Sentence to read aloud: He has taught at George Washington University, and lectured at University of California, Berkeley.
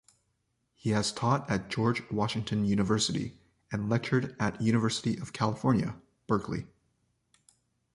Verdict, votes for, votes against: accepted, 2, 0